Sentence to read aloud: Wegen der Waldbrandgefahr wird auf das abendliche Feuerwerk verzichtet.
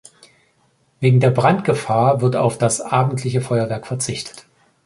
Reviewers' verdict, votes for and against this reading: rejected, 1, 2